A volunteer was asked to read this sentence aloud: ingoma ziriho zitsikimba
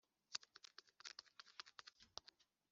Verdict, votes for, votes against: rejected, 0, 2